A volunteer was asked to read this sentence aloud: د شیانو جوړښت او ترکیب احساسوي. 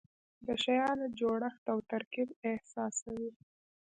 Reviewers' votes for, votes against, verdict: 2, 0, accepted